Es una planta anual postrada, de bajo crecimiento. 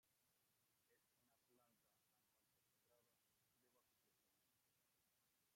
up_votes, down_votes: 0, 2